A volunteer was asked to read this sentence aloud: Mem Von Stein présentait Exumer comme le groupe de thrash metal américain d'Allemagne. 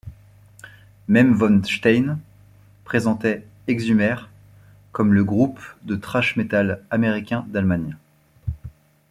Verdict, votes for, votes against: accepted, 2, 1